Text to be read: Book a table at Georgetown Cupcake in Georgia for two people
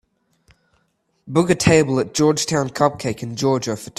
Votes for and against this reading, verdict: 0, 2, rejected